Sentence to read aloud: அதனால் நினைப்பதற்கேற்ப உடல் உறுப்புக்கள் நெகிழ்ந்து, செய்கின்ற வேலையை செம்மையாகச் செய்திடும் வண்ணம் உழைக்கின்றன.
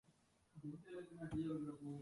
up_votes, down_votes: 0, 2